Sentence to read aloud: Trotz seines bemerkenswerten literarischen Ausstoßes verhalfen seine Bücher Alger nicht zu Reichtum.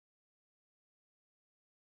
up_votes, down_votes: 0, 2